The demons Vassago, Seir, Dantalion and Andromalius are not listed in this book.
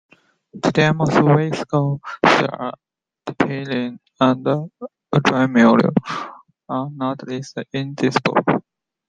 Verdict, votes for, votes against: rejected, 0, 2